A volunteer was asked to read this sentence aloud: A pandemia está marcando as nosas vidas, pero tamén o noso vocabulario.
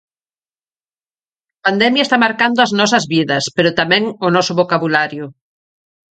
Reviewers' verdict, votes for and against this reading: rejected, 0, 4